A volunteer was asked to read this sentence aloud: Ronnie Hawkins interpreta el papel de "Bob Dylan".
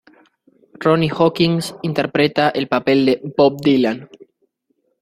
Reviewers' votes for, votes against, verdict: 2, 1, accepted